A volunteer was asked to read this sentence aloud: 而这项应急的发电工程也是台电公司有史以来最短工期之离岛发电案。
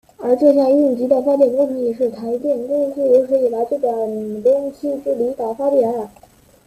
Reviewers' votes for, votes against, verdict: 1, 2, rejected